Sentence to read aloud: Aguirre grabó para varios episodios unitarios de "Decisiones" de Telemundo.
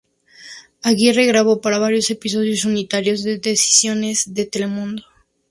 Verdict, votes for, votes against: rejected, 2, 2